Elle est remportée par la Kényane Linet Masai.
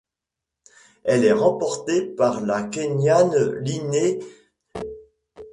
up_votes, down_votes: 0, 2